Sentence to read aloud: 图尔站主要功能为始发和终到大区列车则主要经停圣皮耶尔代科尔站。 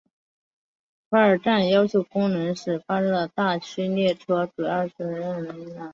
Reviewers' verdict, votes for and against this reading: rejected, 0, 2